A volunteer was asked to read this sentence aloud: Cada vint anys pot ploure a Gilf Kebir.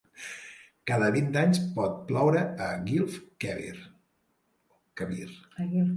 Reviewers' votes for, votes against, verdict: 1, 2, rejected